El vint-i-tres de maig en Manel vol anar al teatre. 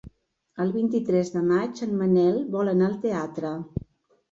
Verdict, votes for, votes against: accepted, 3, 0